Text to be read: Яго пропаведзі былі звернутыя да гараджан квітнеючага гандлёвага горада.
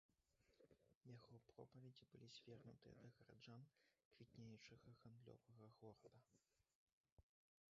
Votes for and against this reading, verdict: 0, 2, rejected